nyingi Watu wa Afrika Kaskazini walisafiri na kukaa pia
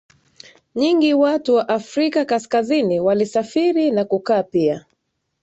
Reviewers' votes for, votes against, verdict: 2, 0, accepted